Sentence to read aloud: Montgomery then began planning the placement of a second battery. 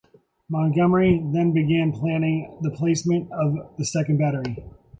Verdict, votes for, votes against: rejected, 1, 2